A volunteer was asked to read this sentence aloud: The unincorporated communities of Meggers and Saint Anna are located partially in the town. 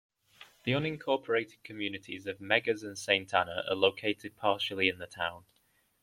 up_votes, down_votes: 2, 0